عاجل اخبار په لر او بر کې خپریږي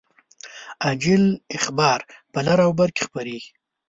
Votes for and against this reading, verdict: 2, 0, accepted